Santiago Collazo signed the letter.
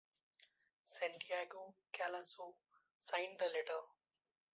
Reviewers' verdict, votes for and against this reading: accepted, 2, 0